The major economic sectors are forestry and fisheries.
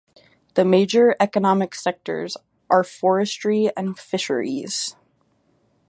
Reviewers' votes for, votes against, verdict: 2, 0, accepted